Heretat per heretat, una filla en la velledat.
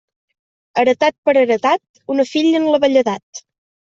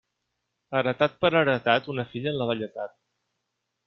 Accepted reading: first